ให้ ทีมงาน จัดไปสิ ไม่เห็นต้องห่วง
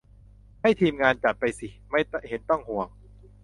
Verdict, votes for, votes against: accepted, 2, 0